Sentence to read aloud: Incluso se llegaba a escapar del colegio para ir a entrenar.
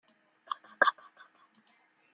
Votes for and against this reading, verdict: 0, 2, rejected